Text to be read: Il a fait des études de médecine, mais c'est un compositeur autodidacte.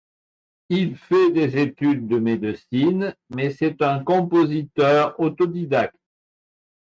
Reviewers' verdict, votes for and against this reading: rejected, 0, 2